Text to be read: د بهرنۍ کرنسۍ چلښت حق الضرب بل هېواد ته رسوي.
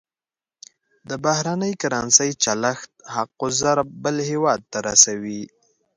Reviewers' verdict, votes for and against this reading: accepted, 2, 0